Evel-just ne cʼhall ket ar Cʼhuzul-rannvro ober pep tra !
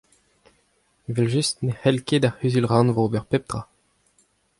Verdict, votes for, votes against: accepted, 2, 0